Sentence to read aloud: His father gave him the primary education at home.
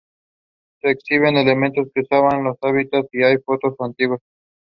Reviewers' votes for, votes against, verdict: 0, 2, rejected